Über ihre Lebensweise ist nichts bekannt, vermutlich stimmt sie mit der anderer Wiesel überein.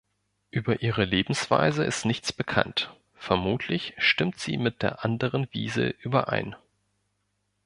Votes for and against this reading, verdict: 2, 3, rejected